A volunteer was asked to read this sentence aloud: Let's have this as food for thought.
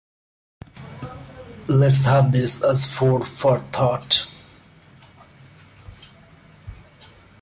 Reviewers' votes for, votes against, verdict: 2, 0, accepted